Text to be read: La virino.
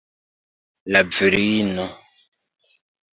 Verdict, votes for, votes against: accepted, 2, 0